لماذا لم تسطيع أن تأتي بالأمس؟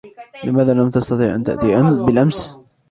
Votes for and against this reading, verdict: 0, 2, rejected